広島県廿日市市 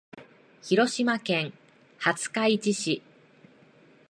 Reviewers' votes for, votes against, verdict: 2, 0, accepted